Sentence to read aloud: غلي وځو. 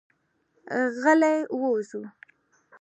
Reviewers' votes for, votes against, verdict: 2, 0, accepted